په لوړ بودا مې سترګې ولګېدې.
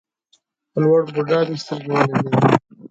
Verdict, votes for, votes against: rejected, 1, 2